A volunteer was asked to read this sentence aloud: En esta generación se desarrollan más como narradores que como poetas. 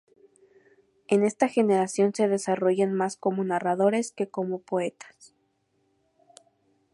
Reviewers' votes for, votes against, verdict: 0, 2, rejected